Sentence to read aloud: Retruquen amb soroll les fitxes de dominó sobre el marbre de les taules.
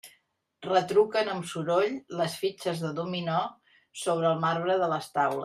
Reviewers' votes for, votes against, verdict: 1, 2, rejected